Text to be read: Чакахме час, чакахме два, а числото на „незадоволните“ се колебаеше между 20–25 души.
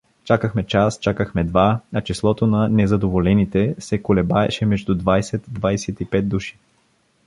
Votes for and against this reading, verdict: 0, 2, rejected